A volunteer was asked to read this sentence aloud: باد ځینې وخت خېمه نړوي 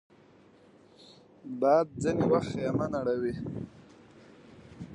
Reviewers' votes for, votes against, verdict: 2, 0, accepted